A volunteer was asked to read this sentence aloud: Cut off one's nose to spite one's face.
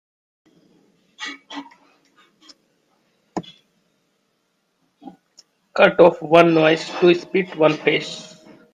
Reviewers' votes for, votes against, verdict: 0, 2, rejected